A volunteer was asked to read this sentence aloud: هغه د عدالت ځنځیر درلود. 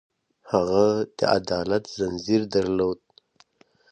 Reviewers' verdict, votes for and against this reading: accepted, 2, 0